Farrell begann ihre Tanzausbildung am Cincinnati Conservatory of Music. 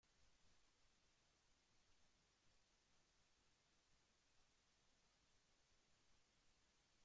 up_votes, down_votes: 0, 2